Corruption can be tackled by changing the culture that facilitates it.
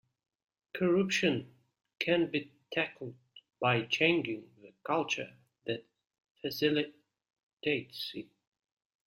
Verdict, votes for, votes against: accepted, 2, 1